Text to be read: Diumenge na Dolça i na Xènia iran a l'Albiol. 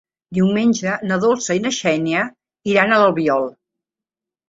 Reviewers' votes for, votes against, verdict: 3, 0, accepted